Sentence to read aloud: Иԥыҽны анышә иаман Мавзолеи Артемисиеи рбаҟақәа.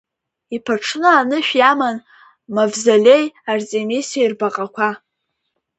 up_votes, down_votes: 2, 0